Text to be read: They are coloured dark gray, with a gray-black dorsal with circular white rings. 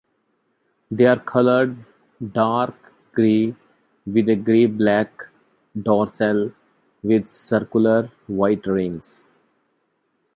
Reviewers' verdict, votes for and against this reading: accepted, 2, 0